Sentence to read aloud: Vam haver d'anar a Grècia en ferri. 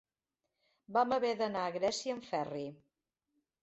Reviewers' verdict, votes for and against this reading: accepted, 5, 0